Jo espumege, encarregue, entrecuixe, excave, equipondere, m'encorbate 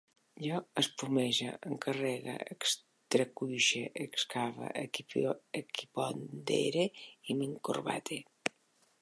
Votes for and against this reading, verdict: 0, 3, rejected